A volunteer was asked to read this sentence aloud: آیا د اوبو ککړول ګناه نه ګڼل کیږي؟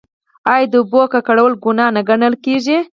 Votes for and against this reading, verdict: 4, 0, accepted